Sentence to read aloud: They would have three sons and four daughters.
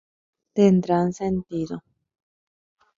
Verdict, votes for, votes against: rejected, 0, 3